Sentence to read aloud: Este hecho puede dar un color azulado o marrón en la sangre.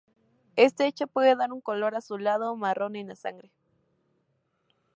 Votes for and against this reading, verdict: 2, 0, accepted